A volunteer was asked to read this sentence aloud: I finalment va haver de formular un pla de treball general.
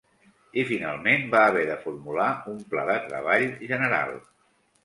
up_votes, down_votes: 2, 0